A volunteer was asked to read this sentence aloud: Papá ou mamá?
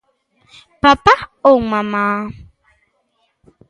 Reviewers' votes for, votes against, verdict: 2, 0, accepted